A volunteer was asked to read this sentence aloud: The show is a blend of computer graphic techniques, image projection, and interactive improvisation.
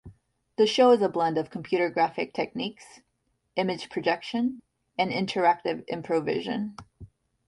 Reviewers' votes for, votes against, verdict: 1, 2, rejected